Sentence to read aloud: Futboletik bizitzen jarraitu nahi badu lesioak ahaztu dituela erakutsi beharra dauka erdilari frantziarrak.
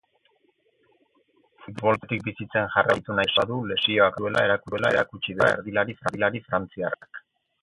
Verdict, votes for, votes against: rejected, 0, 4